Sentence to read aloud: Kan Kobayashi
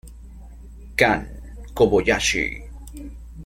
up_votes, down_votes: 0, 2